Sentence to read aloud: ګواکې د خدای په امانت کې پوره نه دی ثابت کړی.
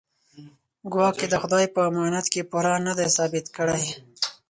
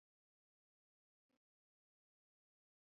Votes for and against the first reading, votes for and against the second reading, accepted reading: 4, 0, 0, 2, first